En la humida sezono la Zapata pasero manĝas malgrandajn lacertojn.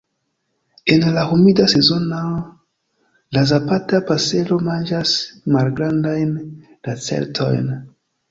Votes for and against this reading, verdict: 2, 0, accepted